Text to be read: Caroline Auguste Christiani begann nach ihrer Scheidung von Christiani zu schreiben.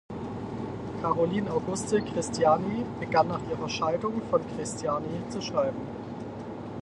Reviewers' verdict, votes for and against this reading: rejected, 0, 4